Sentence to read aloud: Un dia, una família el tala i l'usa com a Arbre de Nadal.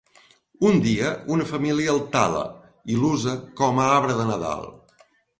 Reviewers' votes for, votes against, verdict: 3, 0, accepted